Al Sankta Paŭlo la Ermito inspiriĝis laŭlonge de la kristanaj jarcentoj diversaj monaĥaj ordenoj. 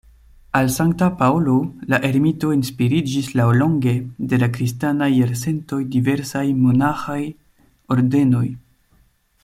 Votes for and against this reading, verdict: 0, 2, rejected